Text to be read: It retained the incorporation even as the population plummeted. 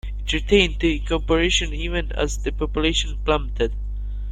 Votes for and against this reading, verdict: 3, 1, accepted